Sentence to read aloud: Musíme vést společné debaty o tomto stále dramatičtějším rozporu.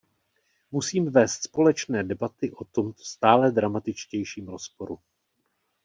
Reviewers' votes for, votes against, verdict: 1, 2, rejected